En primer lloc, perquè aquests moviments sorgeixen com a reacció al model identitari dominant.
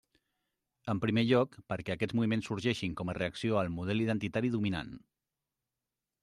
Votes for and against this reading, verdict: 0, 2, rejected